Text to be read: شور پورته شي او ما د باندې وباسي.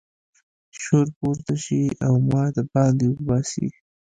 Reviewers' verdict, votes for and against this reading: accepted, 2, 0